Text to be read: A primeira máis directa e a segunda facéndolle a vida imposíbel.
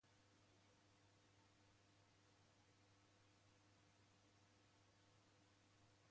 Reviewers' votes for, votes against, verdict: 0, 2, rejected